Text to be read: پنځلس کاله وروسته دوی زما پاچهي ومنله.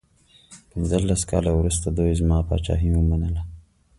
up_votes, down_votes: 2, 0